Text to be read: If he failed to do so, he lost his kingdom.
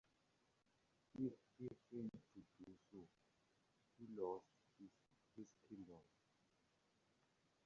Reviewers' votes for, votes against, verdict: 0, 2, rejected